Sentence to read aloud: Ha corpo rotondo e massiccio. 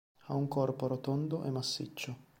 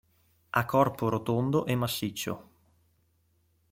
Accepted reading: second